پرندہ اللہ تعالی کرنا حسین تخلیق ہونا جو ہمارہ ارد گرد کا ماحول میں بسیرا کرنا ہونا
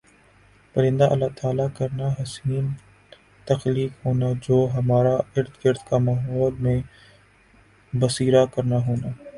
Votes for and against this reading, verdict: 0, 2, rejected